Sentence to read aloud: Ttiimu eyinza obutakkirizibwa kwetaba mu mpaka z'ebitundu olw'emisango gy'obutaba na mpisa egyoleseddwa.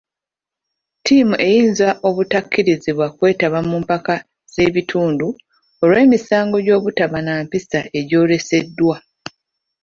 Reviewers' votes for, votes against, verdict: 3, 2, accepted